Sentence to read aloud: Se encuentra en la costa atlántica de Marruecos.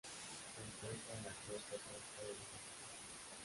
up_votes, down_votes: 0, 2